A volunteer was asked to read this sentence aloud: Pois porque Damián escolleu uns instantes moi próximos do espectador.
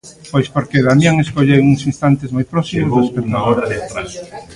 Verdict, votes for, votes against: rejected, 0, 2